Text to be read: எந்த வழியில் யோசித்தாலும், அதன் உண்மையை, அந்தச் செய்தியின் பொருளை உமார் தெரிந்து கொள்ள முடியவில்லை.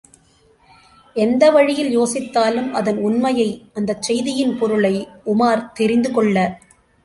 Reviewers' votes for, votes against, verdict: 0, 2, rejected